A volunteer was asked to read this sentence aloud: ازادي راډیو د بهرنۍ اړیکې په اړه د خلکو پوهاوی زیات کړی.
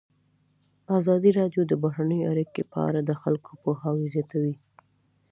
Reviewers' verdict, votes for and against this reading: accepted, 2, 1